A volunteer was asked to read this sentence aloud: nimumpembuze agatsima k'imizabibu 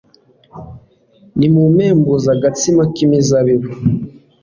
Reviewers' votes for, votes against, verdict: 2, 0, accepted